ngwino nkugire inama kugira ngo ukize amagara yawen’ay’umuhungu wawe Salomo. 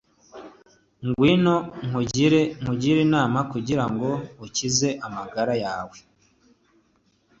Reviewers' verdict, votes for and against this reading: rejected, 1, 2